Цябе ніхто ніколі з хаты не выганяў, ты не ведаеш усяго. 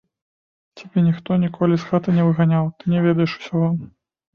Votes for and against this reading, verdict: 3, 0, accepted